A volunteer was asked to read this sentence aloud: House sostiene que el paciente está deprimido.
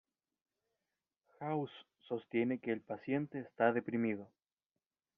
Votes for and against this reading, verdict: 2, 1, accepted